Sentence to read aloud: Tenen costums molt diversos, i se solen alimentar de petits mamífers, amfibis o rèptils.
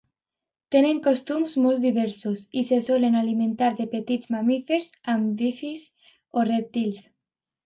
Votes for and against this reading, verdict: 0, 2, rejected